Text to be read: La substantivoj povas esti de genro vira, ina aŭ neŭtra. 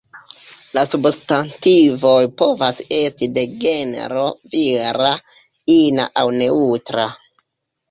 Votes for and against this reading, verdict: 2, 0, accepted